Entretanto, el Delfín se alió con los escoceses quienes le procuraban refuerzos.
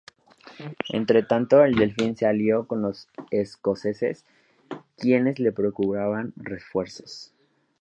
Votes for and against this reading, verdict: 2, 0, accepted